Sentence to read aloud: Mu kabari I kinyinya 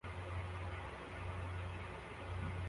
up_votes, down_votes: 0, 2